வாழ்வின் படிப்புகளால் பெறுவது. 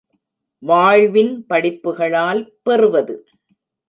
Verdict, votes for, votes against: accepted, 2, 0